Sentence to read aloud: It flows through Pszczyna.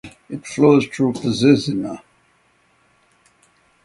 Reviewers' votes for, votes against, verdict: 0, 3, rejected